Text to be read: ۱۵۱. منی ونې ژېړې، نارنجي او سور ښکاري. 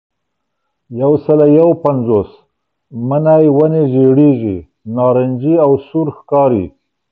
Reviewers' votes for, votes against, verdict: 0, 2, rejected